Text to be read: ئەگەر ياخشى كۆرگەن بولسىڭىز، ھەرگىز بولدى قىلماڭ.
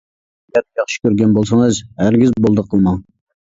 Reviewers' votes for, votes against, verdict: 0, 2, rejected